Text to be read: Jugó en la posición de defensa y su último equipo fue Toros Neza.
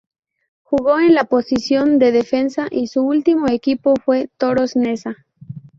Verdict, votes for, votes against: rejected, 0, 4